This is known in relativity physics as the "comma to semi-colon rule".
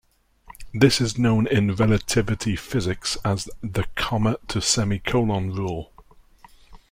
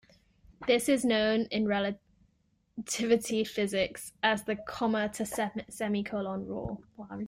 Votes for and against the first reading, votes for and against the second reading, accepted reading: 2, 0, 1, 2, first